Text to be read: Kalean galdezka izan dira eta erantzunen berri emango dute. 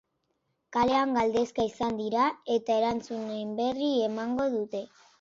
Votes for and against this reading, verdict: 2, 0, accepted